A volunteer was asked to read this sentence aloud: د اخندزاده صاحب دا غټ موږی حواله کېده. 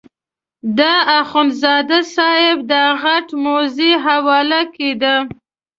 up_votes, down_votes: 1, 2